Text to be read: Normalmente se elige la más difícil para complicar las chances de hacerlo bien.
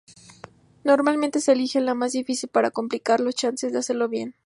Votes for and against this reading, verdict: 2, 0, accepted